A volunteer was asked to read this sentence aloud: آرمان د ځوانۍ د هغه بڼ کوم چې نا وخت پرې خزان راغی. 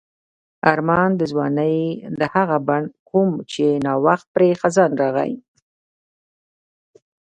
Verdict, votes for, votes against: rejected, 1, 2